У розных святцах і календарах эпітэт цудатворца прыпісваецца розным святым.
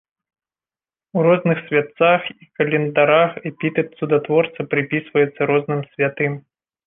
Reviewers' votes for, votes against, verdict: 2, 1, accepted